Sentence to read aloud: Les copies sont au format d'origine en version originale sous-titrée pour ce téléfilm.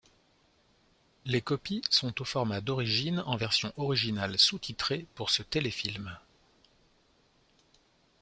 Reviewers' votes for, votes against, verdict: 2, 0, accepted